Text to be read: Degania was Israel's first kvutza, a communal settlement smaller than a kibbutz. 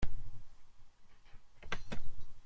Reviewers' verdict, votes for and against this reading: rejected, 0, 2